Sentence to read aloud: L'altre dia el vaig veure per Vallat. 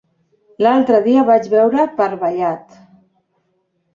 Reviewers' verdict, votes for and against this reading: accepted, 2, 0